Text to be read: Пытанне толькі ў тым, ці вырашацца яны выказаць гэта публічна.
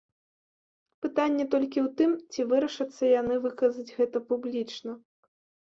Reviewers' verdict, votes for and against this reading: accepted, 2, 0